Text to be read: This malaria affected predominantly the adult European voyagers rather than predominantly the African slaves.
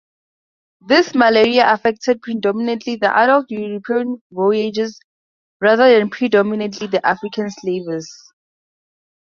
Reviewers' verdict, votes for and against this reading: rejected, 0, 2